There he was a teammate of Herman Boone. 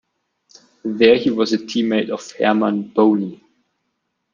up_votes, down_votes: 2, 0